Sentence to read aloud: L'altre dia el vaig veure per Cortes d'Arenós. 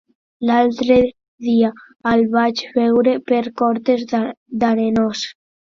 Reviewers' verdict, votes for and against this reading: rejected, 0, 2